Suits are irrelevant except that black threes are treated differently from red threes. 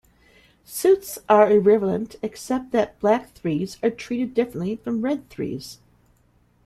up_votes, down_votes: 1, 2